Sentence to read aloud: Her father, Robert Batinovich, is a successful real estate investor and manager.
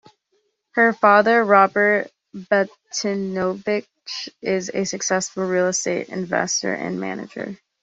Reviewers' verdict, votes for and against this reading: accepted, 2, 0